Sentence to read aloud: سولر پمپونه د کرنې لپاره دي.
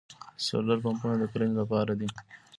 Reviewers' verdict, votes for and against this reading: accepted, 2, 0